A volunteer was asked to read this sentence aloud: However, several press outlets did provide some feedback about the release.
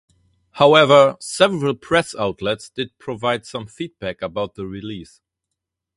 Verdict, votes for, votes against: accepted, 2, 0